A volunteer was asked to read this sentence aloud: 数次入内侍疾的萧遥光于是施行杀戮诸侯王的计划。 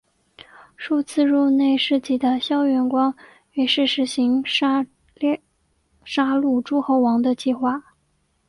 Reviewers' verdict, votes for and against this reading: accepted, 3, 1